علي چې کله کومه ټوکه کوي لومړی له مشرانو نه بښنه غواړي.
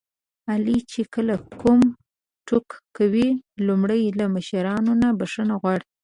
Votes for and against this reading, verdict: 1, 2, rejected